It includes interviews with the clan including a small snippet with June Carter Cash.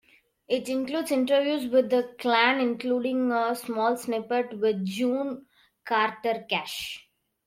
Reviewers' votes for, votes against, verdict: 2, 0, accepted